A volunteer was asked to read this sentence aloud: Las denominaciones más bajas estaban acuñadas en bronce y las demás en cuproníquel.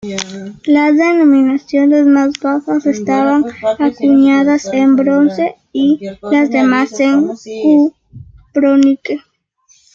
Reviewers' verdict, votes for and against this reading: accepted, 2, 1